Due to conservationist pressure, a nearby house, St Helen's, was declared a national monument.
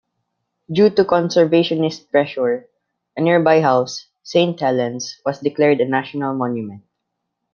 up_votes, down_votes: 0, 2